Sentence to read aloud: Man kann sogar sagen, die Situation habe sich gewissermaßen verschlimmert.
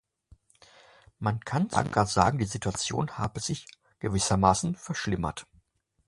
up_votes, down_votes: 0, 2